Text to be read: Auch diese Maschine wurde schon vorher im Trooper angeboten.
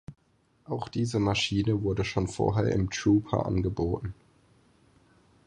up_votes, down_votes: 4, 0